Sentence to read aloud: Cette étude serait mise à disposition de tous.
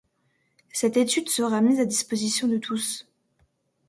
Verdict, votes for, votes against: accepted, 2, 0